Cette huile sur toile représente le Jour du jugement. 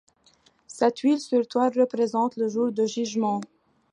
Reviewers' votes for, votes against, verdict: 2, 0, accepted